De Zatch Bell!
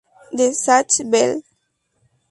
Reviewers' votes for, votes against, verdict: 2, 2, rejected